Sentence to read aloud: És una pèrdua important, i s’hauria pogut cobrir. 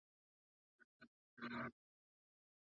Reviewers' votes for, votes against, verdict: 0, 2, rejected